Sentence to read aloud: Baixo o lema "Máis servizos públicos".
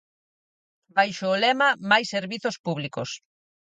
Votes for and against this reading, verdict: 4, 0, accepted